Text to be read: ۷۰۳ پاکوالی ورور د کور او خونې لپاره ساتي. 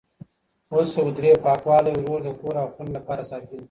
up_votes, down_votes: 0, 2